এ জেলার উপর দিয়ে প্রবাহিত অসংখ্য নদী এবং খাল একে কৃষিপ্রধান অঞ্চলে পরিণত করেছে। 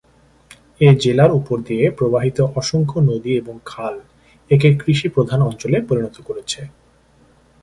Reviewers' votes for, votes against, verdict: 2, 0, accepted